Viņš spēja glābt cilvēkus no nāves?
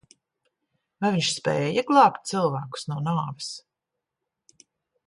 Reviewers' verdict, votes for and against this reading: rejected, 0, 2